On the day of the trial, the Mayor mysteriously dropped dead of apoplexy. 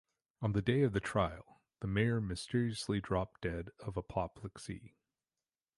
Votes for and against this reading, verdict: 2, 1, accepted